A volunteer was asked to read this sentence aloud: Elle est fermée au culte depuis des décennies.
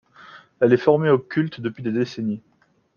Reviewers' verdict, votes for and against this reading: rejected, 0, 3